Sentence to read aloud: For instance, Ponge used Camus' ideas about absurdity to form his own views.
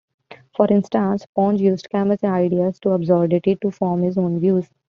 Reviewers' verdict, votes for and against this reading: rejected, 0, 2